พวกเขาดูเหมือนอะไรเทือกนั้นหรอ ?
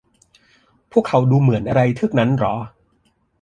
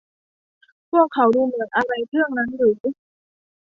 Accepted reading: first